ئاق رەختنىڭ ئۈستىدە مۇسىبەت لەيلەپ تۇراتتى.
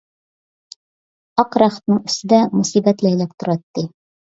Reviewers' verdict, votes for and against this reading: accepted, 2, 0